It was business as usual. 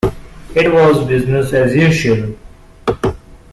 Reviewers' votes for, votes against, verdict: 2, 0, accepted